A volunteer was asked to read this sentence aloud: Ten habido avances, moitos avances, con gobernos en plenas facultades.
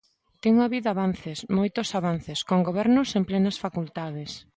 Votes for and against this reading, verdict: 2, 0, accepted